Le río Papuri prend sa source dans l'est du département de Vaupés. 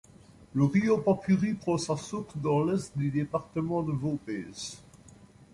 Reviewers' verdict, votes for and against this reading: accepted, 2, 0